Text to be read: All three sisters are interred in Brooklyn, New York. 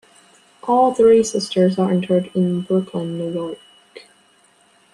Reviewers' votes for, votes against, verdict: 2, 0, accepted